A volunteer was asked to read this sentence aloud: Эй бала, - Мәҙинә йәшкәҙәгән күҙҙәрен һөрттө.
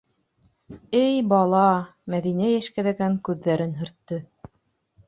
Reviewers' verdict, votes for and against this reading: accepted, 2, 0